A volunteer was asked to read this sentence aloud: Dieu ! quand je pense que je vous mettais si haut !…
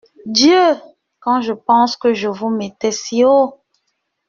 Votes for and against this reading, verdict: 2, 0, accepted